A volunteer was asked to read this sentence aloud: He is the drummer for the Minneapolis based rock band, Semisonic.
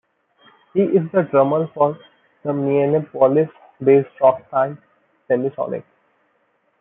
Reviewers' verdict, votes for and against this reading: rejected, 1, 2